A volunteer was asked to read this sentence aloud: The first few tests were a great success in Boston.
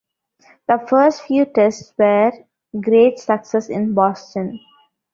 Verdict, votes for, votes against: rejected, 0, 2